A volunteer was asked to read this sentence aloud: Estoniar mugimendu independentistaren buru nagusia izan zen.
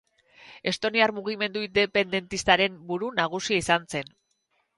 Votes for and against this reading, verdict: 2, 2, rejected